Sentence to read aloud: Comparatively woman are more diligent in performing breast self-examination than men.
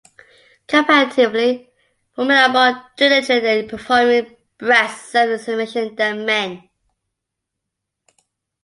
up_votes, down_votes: 1, 2